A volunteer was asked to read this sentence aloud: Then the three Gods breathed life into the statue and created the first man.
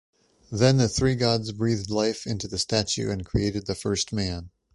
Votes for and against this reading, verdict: 2, 0, accepted